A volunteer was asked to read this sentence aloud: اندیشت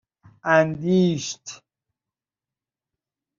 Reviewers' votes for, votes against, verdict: 2, 0, accepted